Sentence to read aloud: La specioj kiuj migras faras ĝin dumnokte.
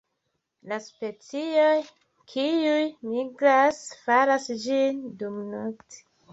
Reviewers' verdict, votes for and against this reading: accepted, 2, 0